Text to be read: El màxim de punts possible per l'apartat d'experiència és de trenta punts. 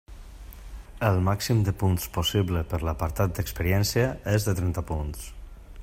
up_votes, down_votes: 3, 0